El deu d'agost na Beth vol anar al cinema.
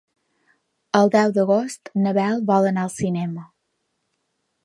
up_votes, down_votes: 0, 2